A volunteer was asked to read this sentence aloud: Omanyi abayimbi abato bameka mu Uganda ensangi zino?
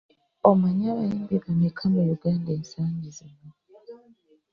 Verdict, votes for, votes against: rejected, 1, 2